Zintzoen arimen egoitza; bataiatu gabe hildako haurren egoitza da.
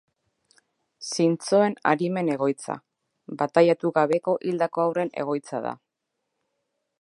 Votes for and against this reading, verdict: 0, 2, rejected